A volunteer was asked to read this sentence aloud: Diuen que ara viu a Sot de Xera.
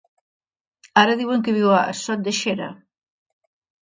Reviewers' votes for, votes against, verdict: 1, 2, rejected